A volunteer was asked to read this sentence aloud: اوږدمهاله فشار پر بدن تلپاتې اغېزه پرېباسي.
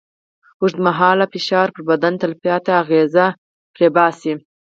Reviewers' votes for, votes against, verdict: 4, 0, accepted